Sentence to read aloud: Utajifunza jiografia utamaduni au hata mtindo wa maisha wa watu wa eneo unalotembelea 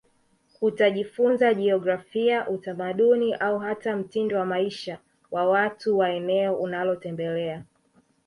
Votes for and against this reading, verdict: 1, 2, rejected